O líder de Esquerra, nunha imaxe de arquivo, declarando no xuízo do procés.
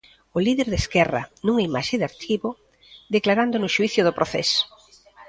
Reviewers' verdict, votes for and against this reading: rejected, 1, 2